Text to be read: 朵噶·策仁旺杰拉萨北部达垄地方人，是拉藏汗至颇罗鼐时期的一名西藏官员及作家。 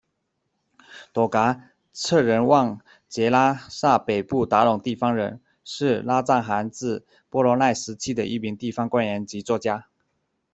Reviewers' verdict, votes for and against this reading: rejected, 0, 2